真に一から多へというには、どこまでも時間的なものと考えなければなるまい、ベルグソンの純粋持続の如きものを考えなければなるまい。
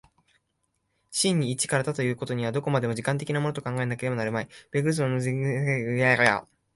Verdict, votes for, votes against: rejected, 0, 2